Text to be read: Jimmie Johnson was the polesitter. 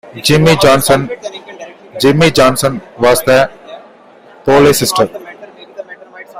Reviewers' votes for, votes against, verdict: 1, 2, rejected